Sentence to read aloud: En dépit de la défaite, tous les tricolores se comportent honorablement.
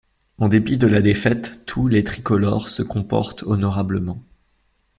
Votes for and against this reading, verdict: 2, 0, accepted